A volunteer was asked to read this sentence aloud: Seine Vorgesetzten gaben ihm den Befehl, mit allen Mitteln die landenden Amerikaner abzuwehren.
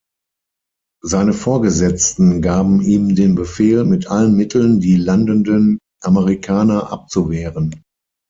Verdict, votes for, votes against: accepted, 6, 0